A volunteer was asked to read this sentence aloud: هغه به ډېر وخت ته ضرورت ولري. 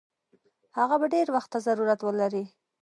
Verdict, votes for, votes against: rejected, 1, 2